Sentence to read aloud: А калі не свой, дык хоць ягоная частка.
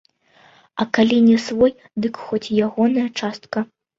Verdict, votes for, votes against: rejected, 0, 2